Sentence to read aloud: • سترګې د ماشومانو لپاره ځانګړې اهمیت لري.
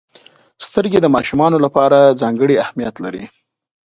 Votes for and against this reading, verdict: 2, 0, accepted